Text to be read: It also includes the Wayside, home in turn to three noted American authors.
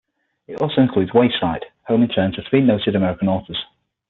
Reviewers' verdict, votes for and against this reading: rejected, 0, 6